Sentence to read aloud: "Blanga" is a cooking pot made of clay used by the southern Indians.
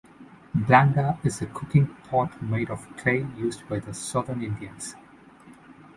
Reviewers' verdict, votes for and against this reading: rejected, 1, 2